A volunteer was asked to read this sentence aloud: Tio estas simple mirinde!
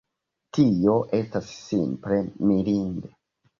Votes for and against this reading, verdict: 0, 2, rejected